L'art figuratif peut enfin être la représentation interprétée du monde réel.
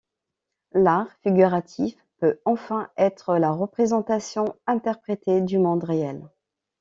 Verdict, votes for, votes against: accepted, 2, 0